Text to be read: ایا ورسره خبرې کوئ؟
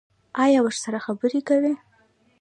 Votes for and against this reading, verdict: 1, 2, rejected